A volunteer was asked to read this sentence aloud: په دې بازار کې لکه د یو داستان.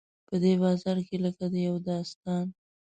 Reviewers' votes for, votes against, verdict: 2, 0, accepted